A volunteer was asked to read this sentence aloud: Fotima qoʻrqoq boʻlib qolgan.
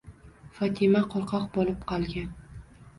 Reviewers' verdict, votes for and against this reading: accepted, 2, 0